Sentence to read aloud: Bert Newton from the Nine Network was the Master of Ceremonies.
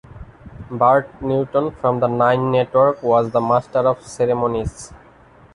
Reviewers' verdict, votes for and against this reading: rejected, 1, 2